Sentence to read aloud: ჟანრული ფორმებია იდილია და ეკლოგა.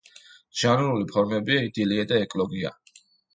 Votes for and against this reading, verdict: 2, 1, accepted